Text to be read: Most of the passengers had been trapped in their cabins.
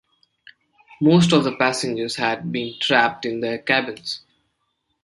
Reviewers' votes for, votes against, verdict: 2, 0, accepted